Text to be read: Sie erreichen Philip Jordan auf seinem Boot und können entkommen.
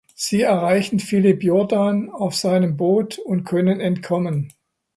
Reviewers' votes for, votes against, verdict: 2, 0, accepted